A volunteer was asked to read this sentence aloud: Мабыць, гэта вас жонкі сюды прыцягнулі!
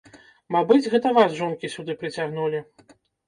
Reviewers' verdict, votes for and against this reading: rejected, 1, 2